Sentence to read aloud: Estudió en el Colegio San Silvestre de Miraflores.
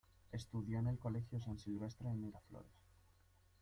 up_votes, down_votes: 0, 2